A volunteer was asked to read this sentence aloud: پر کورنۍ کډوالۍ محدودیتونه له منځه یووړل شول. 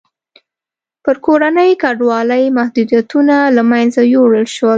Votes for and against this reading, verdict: 2, 0, accepted